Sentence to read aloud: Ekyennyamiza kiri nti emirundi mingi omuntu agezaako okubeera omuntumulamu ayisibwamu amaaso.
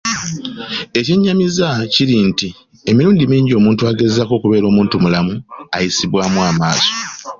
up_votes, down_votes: 2, 0